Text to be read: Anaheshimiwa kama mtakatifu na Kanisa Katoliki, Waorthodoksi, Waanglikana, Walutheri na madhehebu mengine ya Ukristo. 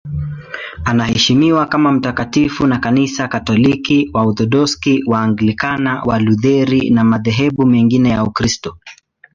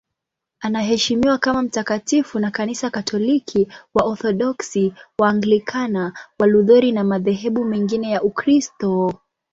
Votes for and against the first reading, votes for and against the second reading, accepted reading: 0, 2, 3, 0, second